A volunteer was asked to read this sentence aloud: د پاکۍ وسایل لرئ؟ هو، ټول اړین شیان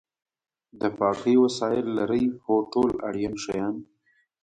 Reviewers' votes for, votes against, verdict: 2, 0, accepted